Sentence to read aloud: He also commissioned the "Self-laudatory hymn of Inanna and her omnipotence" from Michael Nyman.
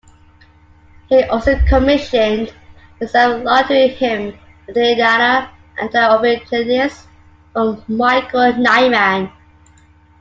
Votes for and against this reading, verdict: 0, 2, rejected